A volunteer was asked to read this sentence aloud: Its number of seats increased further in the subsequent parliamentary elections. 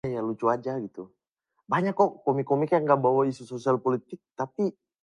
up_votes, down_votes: 0, 2